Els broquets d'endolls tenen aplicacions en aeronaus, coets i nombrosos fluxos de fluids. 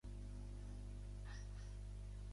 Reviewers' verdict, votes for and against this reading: rejected, 0, 2